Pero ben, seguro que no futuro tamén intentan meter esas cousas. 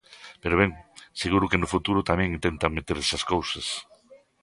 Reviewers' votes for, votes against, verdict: 2, 0, accepted